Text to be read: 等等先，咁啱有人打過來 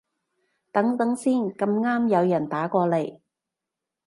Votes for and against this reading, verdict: 1, 2, rejected